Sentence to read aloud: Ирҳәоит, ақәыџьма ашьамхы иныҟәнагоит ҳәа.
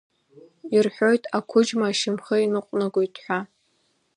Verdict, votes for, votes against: accepted, 2, 0